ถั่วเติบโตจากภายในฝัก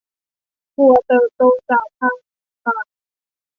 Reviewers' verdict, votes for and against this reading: rejected, 1, 2